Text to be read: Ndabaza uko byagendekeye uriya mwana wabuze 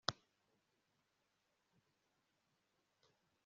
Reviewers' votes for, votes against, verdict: 1, 2, rejected